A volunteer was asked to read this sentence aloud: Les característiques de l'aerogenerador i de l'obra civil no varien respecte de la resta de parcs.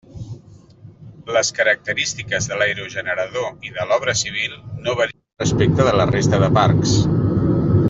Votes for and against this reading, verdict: 0, 2, rejected